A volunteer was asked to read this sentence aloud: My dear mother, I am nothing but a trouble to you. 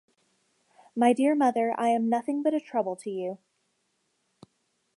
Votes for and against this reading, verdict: 2, 0, accepted